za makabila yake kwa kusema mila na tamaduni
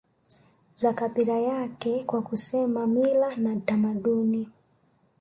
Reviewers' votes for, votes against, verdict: 0, 2, rejected